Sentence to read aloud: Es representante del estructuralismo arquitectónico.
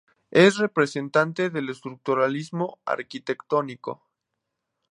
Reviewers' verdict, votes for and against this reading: accepted, 2, 0